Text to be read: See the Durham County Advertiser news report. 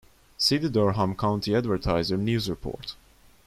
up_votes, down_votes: 2, 0